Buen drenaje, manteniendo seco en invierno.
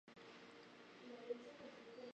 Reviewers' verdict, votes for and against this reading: rejected, 0, 2